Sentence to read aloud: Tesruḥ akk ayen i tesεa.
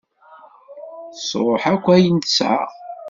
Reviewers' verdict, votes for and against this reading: accepted, 2, 0